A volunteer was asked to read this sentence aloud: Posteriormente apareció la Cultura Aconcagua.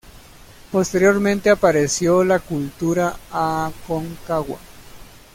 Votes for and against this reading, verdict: 2, 1, accepted